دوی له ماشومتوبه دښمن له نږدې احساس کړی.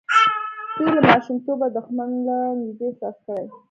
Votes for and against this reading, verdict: 0, 2, rejected